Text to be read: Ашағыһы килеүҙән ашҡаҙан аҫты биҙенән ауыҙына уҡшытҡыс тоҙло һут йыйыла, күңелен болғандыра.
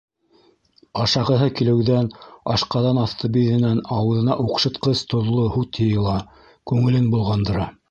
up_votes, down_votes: 1, 2